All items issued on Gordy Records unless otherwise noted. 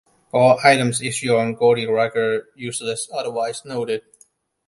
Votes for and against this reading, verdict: 1, 2, rejected